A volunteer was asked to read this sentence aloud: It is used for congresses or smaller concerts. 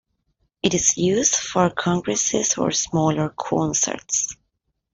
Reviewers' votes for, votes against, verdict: 2, 0, accepted